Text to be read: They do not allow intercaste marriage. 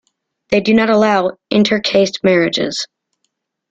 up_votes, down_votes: 0, 2